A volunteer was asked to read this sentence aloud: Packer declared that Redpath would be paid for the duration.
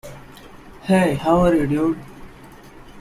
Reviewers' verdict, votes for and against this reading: rejected, 0, 2